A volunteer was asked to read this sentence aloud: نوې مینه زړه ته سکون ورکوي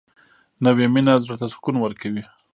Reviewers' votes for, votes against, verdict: 2, 0, accepted